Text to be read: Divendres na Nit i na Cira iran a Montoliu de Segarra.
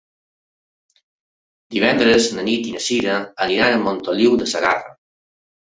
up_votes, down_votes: 0, 2